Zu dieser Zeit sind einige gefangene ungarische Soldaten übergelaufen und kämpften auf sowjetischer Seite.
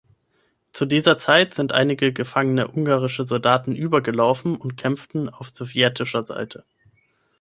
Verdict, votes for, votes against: accepted, 9, 0